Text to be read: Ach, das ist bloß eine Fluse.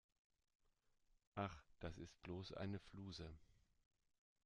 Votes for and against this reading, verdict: 2, 0, accepted